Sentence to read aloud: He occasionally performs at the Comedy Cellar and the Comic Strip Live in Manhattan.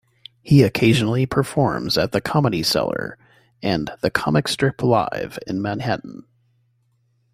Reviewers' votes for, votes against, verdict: 2, 0, accepted